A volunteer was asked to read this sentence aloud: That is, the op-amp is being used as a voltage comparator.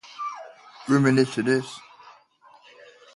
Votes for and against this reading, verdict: 0, 2, rejected